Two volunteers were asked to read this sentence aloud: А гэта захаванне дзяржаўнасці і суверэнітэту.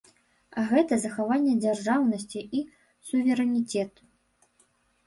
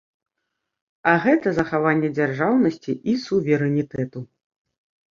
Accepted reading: second